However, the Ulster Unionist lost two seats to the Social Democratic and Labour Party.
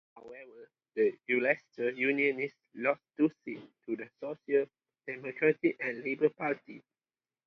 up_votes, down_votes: 0, 2